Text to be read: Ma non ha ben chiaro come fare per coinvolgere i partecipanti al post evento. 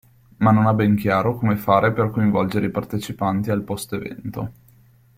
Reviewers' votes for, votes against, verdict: 2, 0, accepted